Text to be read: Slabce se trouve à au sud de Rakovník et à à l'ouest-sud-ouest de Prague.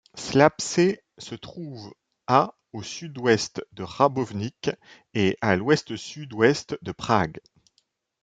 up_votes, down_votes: 0, 2